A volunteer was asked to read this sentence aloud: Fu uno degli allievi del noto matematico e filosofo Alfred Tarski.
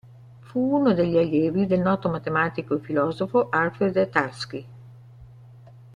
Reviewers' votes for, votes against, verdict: 2, 0, accepted